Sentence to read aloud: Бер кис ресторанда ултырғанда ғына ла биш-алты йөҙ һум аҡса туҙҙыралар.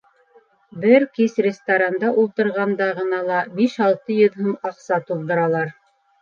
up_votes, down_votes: 2, 0